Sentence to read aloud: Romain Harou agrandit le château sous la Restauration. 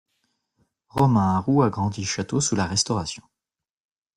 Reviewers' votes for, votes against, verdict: 0, 2, rejected